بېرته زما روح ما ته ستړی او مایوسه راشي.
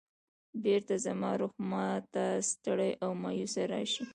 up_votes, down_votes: 0, 2